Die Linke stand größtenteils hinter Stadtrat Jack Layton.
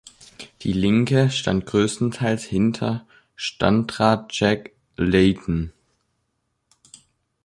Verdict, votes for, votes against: rejected, 0, 3